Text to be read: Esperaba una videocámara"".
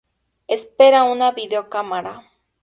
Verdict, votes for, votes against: rejected, 2, 2